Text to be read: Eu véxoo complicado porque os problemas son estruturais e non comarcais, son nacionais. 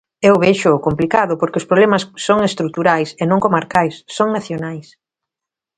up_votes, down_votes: 2, 0